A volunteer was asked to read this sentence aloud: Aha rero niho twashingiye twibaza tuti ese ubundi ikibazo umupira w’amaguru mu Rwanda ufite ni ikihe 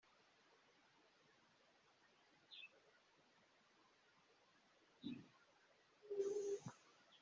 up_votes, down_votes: 0, 2